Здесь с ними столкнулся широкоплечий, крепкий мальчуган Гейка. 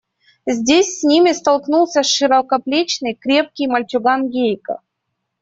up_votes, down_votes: 1, 2